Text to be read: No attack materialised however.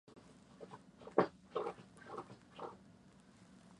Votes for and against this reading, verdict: 0, 2, rejected